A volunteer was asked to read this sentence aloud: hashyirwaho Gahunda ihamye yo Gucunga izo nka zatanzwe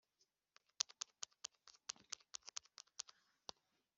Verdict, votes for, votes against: rejected, 0, 2